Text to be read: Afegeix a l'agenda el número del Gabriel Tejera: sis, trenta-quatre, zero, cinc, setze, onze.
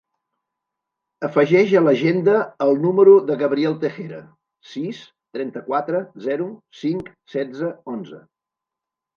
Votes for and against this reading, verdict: 0, 2, rejected